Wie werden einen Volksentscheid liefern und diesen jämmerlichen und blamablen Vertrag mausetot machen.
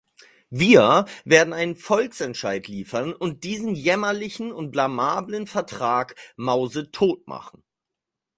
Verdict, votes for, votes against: rejected, 2, 4